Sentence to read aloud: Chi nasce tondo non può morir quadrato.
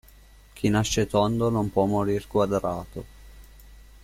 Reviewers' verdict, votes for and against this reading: accepted, 2, 0